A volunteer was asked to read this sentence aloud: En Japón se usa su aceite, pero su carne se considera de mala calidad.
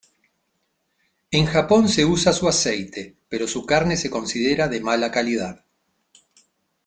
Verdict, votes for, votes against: accepted, 2, 1